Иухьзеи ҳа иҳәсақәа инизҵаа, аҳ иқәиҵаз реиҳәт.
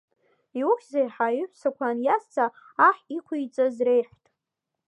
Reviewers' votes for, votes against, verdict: 3, 0, accepted